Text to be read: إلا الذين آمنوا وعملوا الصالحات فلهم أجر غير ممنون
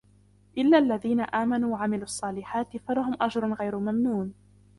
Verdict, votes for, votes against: rejected, 1, 2